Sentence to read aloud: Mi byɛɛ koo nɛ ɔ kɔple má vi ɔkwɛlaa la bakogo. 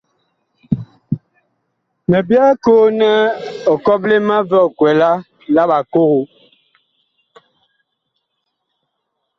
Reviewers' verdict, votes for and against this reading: accepted, 2, 1